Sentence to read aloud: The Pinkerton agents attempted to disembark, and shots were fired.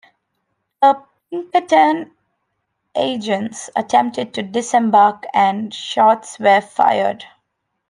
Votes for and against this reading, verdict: 1, 2, rejected